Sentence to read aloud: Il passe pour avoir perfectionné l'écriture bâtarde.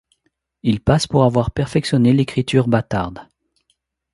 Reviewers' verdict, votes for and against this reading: accepted, 2, 0